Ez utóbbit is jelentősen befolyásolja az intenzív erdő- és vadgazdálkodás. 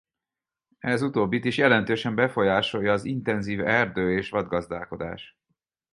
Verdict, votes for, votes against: accepted, 4, 0